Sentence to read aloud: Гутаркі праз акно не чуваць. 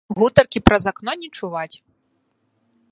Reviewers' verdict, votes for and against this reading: rejected, 0, 2